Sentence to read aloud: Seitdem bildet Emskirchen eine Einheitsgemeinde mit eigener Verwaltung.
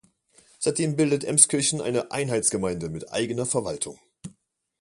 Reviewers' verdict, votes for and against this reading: accepted, 2, 0